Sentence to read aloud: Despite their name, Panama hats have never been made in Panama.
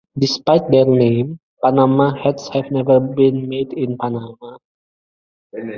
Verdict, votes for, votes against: rejected, 0, 2